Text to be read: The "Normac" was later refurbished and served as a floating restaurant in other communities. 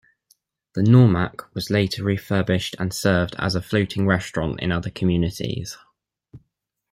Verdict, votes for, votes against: rejected, 0, 2